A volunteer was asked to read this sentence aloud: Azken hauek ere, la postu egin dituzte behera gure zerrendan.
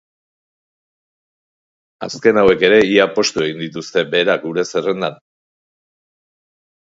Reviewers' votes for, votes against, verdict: 0, 4, rejected